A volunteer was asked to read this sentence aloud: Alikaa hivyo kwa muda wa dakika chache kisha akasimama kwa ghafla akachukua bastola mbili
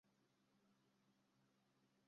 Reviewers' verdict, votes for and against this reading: rejected, 0, 2